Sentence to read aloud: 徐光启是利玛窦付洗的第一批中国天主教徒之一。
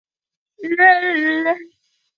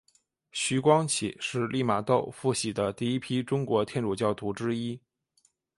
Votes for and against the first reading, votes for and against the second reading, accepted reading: 0, 2, 7, 0, second